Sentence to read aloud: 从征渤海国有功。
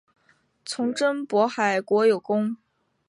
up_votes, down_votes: 4, 0